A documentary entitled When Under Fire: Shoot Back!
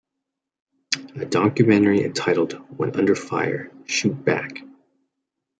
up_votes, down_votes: 2, 0